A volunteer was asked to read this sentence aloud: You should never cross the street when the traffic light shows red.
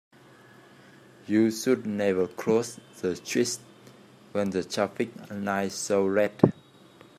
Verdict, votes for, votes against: rejected, 1, 3